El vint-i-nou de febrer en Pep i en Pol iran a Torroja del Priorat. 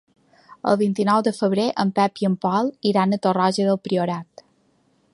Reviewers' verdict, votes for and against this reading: accepted, 2, 0